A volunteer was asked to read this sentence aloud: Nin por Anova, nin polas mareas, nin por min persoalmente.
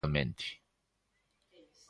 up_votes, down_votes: 0, 2